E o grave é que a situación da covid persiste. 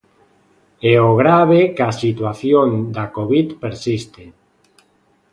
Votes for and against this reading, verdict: 0, 2, rejected